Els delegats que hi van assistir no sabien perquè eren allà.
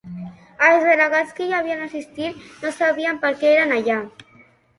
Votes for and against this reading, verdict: 1, 2, rejected